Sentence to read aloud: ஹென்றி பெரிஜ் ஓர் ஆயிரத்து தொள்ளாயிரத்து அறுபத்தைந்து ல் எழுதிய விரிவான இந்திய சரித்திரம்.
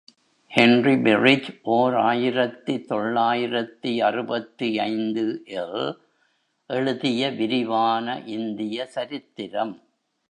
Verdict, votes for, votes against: accepted, 2, 0